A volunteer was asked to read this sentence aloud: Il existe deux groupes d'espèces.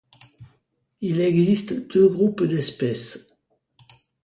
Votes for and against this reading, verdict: 2, 0, accepted